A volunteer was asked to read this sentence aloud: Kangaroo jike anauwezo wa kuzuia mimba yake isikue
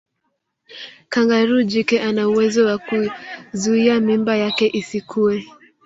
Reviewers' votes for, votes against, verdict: 1, 3, rejected